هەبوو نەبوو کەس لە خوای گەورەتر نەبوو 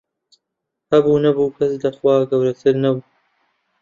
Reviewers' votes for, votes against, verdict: 0, 2, rejected